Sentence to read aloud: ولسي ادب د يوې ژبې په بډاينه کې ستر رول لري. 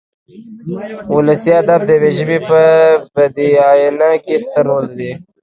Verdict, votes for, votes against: rejected, 0, 2